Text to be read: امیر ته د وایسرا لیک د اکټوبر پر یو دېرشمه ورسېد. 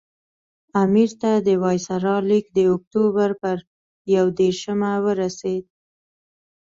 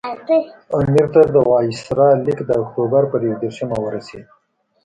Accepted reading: first